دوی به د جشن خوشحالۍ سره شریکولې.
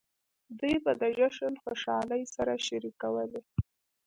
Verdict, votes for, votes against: accepted, 2, 0